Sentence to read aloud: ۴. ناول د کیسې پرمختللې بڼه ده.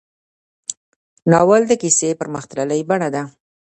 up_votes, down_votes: 0, 2